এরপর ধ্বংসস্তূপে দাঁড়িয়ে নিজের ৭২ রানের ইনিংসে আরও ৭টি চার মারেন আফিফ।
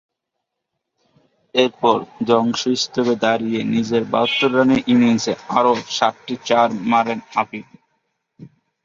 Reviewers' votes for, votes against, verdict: 0, 2, rejected